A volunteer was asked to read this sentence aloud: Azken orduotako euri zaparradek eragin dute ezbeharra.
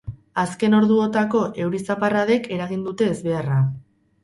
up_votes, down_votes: 2, 2